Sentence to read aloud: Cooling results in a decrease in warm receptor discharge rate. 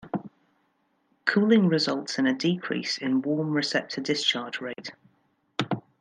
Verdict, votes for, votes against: accepted, 2, 0